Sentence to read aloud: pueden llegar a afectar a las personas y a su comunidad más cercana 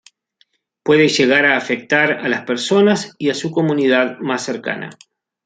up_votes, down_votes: 2, 3